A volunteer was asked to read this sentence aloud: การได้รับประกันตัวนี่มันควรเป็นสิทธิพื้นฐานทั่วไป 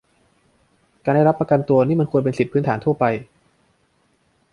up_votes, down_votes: 1, 2